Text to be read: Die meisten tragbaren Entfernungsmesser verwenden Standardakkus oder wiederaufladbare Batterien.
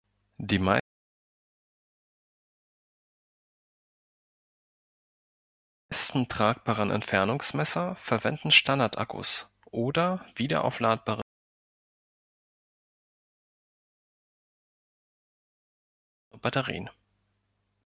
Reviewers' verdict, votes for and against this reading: rejected, 0, 2